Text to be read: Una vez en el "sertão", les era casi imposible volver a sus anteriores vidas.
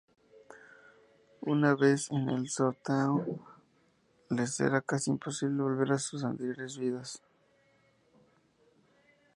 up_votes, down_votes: 4, 0